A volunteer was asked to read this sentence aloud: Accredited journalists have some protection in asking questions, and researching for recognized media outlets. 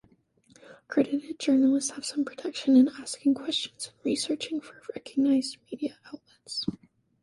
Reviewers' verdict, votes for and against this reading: rejected, 1, 2